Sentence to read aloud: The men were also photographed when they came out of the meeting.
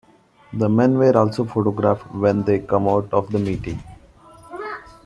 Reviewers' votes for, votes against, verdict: 2, 3, rejected